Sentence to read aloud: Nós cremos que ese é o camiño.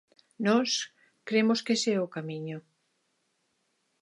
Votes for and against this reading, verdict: 2, 0, accepted